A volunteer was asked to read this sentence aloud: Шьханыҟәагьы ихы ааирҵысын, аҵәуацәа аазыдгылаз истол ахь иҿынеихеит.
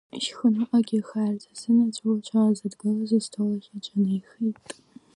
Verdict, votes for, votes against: rejected, 0, 2